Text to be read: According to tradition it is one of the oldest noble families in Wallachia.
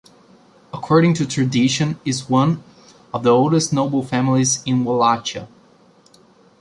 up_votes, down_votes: 0, 2